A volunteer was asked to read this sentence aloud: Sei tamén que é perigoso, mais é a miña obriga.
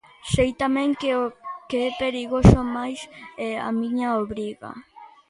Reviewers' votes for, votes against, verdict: 0, 2, rejected